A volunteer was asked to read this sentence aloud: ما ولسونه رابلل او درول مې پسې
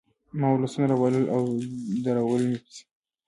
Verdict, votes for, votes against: rejected, 1, 2